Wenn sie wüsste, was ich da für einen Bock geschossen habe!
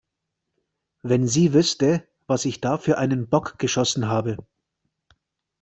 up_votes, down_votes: 2, 0